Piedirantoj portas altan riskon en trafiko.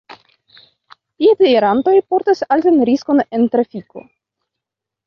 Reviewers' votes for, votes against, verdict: 0, 2, rejected